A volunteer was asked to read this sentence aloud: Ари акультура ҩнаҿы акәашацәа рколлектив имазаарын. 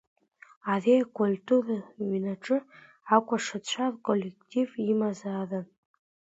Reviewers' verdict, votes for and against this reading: accepted, 2, 0